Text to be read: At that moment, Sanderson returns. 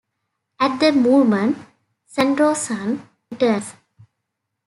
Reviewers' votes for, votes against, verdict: 0, 2, rejected